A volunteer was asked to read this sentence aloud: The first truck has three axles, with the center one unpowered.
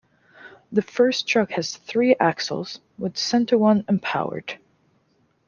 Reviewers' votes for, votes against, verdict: 1, 2, rejected